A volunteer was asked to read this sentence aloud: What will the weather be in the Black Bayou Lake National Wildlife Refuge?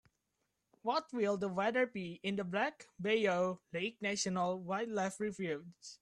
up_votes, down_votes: 1, 2